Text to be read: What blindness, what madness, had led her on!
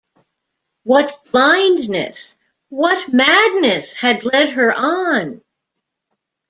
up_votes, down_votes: 2, 0